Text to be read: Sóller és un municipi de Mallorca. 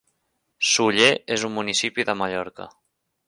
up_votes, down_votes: 1, 2